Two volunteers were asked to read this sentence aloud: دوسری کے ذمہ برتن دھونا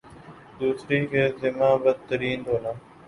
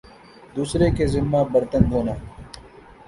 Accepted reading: second